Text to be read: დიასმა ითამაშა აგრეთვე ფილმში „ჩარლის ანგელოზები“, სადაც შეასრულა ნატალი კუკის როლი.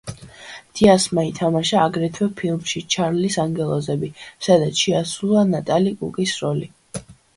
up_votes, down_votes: 2, 1